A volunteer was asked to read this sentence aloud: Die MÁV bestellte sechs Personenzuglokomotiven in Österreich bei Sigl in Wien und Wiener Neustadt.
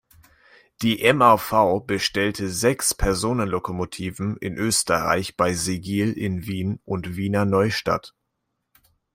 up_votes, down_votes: 2, 1